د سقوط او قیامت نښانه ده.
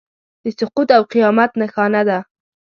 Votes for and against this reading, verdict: 2, 0, accepted